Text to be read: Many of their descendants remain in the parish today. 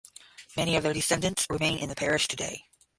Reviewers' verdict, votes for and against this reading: accepted, 5, 0